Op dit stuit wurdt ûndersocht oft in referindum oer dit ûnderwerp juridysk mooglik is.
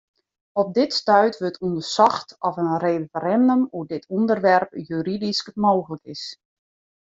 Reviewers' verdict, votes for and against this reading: accepted, 2, 1